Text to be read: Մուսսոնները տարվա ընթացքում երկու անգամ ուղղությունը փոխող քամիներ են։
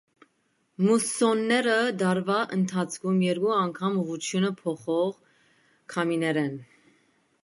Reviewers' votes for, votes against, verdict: 1, 2, rejected